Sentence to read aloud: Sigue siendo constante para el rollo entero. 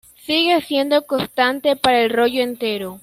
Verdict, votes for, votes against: accepted, 3, 1